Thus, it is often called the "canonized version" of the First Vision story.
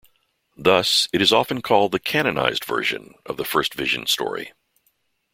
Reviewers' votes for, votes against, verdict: 2, 0, accepted